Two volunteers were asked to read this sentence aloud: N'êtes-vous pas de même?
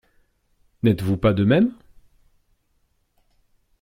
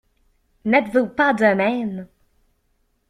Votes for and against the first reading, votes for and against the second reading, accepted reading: 2, 0, 1, 2, first